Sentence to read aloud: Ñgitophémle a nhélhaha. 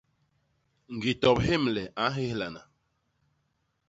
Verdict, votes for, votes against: rejected, 1, 2